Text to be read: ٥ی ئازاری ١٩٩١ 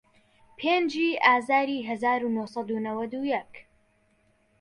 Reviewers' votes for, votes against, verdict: 0, 2, rejected